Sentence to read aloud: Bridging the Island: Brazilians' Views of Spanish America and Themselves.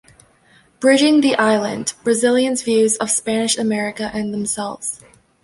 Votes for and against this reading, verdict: 2, 0, accepted